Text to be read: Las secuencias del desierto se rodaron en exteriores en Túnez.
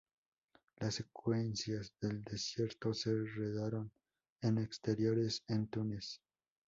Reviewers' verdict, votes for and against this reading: rejected, 0, 2